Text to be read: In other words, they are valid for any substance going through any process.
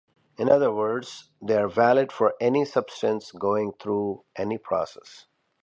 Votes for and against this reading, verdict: 2, 0, accepted